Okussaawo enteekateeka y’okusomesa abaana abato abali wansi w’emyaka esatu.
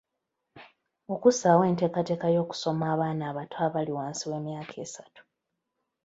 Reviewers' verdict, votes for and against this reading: rejected, 1, 2